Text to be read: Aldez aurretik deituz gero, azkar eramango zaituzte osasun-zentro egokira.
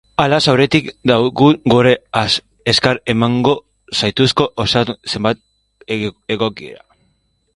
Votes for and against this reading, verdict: 0, 3, rejected